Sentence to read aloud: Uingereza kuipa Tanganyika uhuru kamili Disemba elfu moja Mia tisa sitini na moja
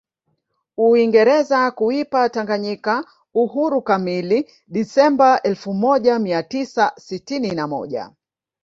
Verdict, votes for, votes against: rejected, 1, 2